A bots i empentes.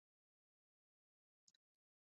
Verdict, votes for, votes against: rejected, 1, 2